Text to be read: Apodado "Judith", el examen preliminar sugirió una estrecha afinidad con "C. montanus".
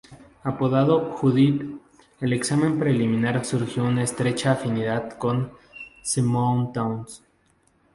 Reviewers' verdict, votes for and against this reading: rejected, 0, 2